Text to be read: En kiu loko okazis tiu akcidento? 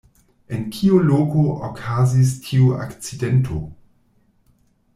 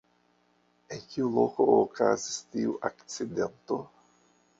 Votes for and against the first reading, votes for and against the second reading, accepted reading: 2, 0, 1, 2, first